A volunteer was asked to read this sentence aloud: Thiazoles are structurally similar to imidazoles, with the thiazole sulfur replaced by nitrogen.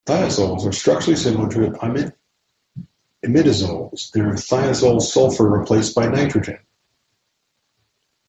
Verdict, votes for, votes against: rejected, 1, 2